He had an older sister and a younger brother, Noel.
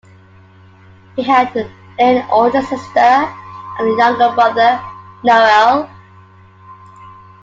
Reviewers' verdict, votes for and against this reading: accepted, 3, 2